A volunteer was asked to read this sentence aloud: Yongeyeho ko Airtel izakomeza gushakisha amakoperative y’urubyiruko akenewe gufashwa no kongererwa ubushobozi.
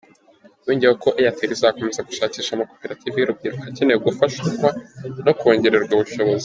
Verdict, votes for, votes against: accepted, 2, 1